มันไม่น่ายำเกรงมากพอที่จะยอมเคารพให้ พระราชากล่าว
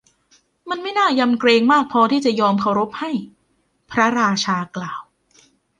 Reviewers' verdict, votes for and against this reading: accepted, 2, 0